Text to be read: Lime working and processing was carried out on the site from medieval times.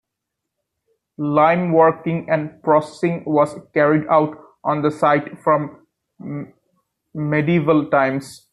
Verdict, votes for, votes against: accepted, 2, 0